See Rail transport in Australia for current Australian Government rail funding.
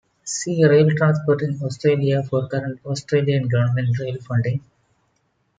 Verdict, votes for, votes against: accepted, 2, 0